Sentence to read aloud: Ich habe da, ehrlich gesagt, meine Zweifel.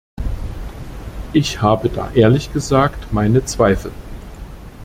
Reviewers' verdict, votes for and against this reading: accepted, 2, 0